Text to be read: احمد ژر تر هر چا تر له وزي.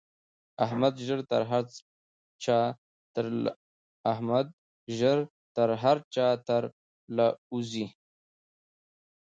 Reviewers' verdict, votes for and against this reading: accepted, 2, 0